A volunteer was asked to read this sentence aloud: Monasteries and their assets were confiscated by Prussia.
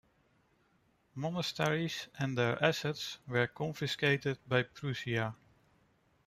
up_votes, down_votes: 2, 0